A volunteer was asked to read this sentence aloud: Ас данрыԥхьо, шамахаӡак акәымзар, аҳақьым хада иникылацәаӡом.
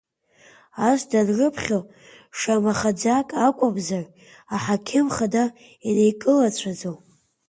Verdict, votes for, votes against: accepted, 2, 1